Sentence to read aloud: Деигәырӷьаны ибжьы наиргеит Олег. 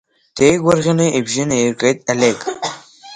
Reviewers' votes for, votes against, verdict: 3, 2, accepted